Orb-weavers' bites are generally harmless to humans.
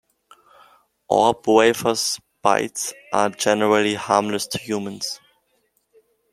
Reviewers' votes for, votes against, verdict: 2, 0, accepted